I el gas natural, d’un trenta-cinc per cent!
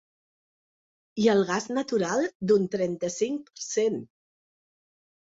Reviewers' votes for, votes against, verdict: 0, 2, rejected